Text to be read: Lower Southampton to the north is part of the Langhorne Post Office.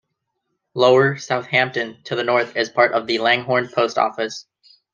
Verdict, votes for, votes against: accepted, 2, 0